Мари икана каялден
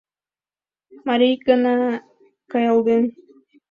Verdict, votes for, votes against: accepted, 2, 0